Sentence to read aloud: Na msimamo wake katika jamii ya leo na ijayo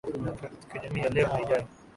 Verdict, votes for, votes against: rejected, 1, 7